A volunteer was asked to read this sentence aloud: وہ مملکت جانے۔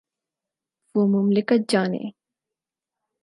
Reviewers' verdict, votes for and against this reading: accepted, 4, 0